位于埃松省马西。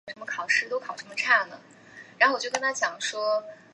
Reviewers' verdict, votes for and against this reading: rejected, 0, 2